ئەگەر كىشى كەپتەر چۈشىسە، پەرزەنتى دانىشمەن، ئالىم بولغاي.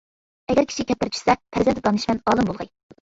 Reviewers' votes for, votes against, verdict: 0, 2, rejected